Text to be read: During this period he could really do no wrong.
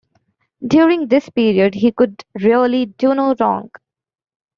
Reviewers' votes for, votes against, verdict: 2, 0, accepted